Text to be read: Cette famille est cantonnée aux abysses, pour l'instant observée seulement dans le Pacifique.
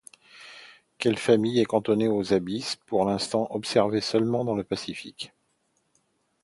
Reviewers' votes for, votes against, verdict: 1, 2, rejected